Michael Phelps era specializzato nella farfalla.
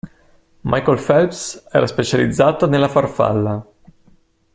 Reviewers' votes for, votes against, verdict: 2, 0, accepted